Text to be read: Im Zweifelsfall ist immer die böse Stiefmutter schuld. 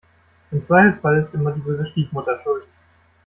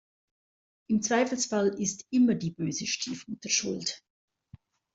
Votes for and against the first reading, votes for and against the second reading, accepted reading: 1, 2, 2, 0, second